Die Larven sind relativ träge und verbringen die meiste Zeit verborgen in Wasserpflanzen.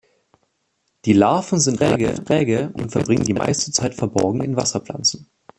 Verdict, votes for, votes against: rejected, 0, 2